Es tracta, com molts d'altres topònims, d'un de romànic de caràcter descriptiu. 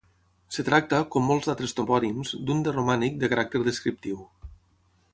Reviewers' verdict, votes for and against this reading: rejected, 0, 3